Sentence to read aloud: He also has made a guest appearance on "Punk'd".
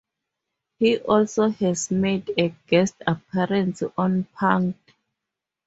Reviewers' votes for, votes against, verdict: 4, 2, accepted